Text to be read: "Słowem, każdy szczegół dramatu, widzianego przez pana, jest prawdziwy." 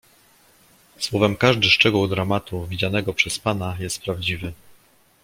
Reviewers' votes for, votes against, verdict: 2, 0, accepted